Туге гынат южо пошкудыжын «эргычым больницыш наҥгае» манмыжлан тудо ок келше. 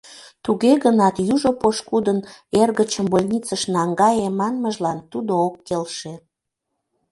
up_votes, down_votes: 0, 2